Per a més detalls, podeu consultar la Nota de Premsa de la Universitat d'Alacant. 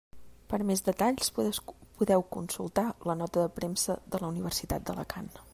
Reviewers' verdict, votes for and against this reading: rejected, 1, 2